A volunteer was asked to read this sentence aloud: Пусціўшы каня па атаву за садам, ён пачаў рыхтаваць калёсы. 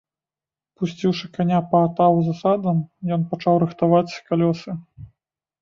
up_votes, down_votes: 2, 0